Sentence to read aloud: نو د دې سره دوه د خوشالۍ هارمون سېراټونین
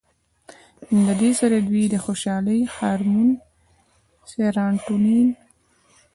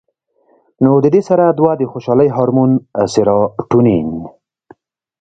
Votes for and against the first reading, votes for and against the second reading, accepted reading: 1, 2, 2, 0, second